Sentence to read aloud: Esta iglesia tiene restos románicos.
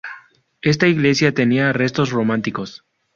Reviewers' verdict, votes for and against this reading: rejected, 0, 2